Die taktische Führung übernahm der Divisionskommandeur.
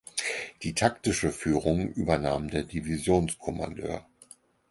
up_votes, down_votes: 4, 0